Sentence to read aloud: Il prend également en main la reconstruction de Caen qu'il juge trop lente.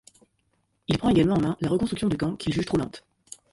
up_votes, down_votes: 0, 2